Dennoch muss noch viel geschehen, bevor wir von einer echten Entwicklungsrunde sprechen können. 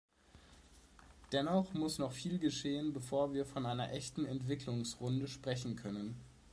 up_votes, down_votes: 2, 0